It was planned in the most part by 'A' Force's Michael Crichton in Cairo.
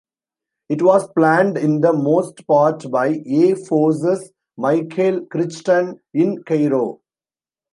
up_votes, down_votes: 2, 0